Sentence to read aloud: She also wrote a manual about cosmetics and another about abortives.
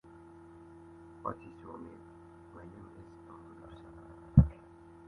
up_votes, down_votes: 1, 2